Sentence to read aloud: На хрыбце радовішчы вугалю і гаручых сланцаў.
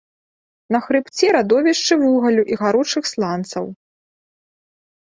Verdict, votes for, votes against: accepted, 2, 0